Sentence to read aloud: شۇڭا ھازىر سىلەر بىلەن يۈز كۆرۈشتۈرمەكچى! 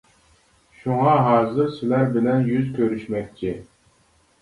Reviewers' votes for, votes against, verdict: 1, 2, rejected